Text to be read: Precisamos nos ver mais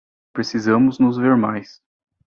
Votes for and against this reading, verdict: 2, 0, accepted